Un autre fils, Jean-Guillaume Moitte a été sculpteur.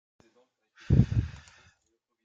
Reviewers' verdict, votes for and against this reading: rejected, 0, 2